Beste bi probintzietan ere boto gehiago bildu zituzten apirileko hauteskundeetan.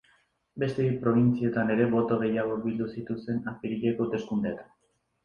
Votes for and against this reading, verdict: 2, 0, accepted